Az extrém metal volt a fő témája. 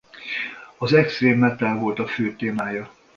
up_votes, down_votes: 2, 0